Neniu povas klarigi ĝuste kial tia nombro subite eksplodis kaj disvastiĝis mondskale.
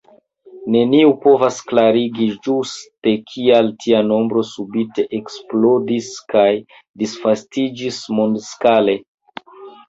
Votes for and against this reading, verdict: 1, 3, rejected